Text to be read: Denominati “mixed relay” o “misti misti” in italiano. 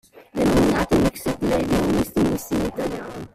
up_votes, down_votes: 0, 2